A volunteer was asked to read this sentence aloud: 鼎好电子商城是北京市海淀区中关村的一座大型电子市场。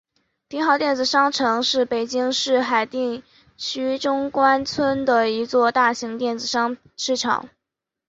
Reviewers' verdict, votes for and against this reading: rejected, 0, 2